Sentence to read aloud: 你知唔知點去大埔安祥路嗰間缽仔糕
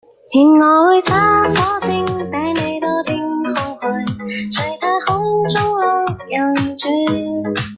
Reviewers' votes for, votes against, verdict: 0, 2, rejected